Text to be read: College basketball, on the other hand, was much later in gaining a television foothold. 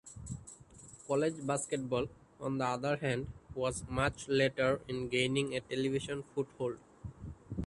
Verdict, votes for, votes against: rejected, 1, 2